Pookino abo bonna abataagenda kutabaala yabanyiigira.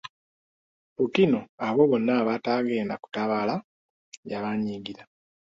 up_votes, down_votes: 2, 1